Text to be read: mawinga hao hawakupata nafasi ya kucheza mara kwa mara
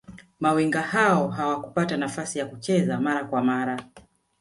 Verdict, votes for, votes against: accepted, 2, 1